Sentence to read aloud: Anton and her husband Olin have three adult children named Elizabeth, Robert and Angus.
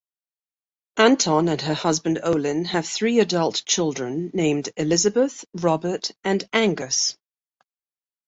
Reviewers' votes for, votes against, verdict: 2, 0, accepted